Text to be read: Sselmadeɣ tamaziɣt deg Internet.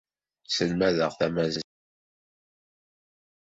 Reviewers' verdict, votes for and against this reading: rejected, 0, 2